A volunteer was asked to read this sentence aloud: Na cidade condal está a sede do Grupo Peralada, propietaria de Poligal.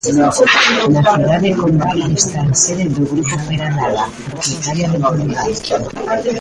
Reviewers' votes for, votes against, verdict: 0, 2, rejected